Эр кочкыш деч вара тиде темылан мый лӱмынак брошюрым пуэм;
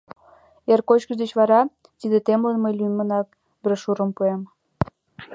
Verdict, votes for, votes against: rejected, 1, 2